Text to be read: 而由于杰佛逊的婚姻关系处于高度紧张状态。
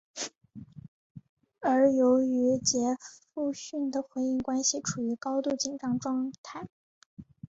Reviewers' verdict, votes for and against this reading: accepted, 2, 1